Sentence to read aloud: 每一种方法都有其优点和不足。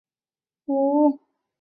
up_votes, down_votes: 0, 2